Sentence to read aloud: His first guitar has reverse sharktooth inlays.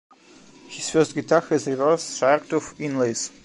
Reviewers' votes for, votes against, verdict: 3, 1, accepted